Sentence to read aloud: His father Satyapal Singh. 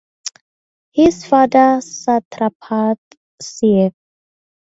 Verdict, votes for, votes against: rejected, 0, 2